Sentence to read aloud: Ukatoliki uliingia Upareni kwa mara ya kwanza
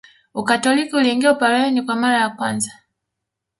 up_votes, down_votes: 2, 1